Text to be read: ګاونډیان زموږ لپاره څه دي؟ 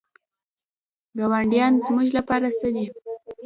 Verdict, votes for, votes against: rejected, 1, 2